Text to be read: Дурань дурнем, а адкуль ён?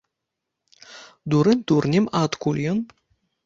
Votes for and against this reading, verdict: 2, 0, accepted